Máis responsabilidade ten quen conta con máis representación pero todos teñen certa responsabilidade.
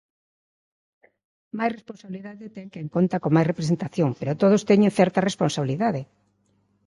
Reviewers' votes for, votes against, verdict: 2, 0, accepted